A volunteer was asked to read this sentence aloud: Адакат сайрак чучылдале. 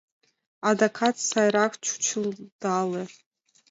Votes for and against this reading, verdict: 2, 0, accepted